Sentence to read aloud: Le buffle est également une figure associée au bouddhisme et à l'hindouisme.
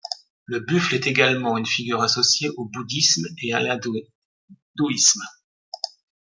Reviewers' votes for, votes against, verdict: 0, 2, rejected